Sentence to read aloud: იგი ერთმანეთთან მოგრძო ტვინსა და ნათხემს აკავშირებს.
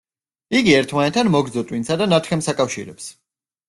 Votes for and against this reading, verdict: 2, 0, accepted